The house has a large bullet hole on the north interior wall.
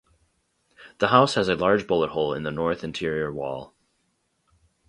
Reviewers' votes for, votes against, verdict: 2, 2, rejected